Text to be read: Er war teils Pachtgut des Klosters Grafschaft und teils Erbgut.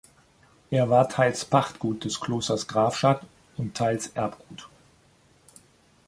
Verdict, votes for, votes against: rejected, 1, 2